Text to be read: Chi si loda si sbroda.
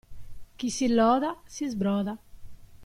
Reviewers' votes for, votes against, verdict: 2, 0, accepted